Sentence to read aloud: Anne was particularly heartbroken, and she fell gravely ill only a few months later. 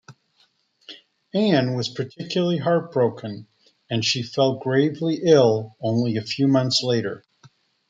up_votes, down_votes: 2, 0